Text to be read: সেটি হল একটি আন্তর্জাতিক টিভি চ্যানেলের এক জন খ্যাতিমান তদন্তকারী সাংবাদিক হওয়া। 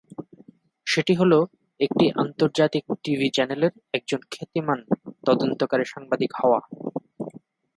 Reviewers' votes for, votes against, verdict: 1, 2, rejected